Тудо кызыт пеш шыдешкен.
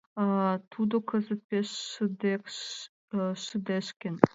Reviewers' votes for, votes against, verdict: 0, 2, rejected